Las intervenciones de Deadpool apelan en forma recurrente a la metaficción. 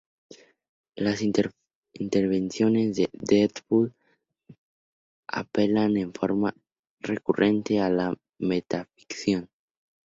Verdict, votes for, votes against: accepted, 2, 0